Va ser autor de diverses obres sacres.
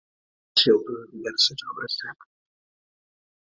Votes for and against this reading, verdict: 0, 2, rejected